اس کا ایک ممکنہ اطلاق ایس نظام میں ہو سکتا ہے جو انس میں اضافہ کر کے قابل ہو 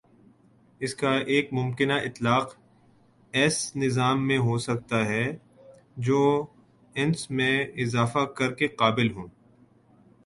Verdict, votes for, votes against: accepted, 2, 0